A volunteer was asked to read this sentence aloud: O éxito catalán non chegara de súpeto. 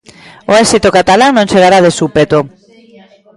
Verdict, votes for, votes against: rejected, 0, 2